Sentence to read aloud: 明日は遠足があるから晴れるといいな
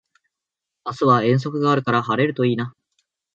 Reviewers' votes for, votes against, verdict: 2, 0, accepted